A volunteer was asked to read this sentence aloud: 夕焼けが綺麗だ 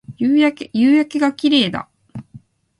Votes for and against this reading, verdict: 0, 2, rejected